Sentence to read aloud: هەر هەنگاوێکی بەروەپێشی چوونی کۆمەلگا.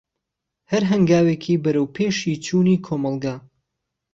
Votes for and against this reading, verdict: 0, 2, rejected